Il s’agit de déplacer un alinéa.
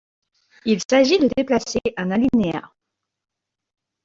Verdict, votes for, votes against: rejected, 1, 2